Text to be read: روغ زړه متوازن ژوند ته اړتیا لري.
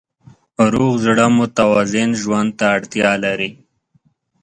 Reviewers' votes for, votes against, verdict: 2, 0, accepted